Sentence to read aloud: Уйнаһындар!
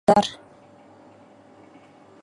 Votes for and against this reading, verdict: 0, 2, rejected